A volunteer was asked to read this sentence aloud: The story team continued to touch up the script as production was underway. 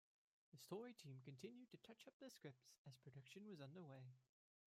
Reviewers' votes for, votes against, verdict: 2, 0, accepted